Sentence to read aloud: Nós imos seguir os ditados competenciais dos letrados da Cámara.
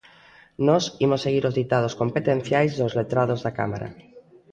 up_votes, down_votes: 1, 2